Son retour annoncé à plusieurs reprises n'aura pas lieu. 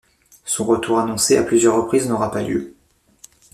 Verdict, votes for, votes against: rejected, 1, 2